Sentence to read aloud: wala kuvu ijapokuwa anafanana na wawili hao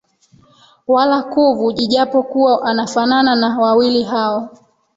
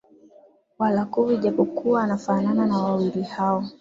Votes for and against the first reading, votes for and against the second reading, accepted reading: 0, 2, 6, 0, second